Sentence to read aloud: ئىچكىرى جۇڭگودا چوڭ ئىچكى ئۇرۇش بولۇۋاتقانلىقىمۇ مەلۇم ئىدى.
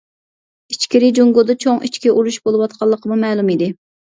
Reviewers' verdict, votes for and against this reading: accepted, 3, 0